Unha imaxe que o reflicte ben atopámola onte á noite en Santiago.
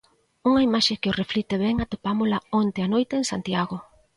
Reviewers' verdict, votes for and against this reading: accepted, 2, 0